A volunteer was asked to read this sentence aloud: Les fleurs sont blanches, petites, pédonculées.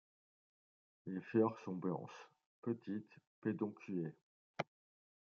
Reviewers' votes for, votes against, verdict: 2, 0, accepted